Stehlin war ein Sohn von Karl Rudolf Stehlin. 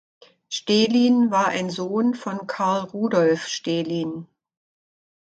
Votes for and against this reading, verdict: 2, 0, accepted